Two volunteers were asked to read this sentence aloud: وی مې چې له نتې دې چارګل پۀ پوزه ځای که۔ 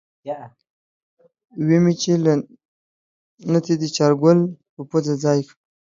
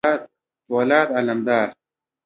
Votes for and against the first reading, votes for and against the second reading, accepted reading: 4, 0, 1, 2, first